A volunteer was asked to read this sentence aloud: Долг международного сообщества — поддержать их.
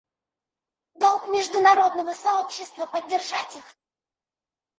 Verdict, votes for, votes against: rejected, 0, 4